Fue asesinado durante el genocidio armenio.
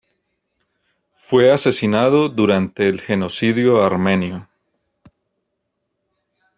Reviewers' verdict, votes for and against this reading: accepted, 2, 0